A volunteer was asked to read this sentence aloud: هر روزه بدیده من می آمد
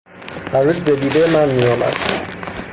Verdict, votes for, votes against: rejected, 0, 3